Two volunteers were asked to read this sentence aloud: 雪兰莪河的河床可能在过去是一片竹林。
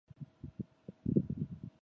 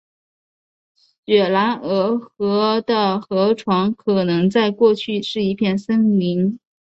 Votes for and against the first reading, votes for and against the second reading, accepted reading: 2, 3, 2, 1, second